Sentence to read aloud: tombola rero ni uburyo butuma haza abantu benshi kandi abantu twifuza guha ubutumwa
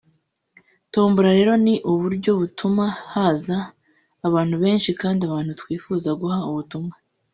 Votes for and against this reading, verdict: 1, 2, rejected